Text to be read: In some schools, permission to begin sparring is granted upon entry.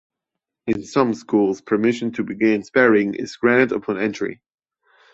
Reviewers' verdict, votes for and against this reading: rejected, 1, 2